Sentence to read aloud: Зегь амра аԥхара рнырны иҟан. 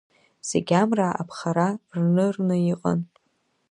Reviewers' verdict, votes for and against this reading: accepted, 2, 1